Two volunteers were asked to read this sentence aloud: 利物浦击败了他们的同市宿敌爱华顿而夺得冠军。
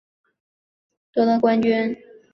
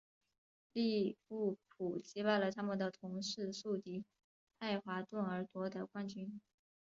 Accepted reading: second